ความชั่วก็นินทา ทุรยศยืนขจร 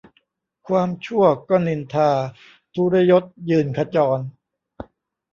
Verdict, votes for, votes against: accepted, 2, 0